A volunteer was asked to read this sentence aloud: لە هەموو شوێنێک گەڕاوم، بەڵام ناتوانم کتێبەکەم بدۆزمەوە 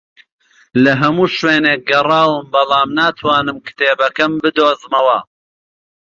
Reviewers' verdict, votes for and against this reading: accepted, 2, 0